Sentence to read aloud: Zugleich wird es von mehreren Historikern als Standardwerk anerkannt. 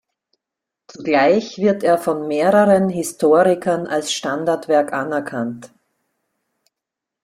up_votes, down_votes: 0, 2